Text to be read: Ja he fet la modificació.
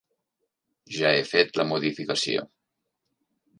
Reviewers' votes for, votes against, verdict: 3, 0, accepted